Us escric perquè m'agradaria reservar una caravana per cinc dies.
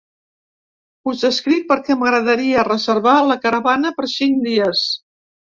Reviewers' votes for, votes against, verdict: 1, 3, rejected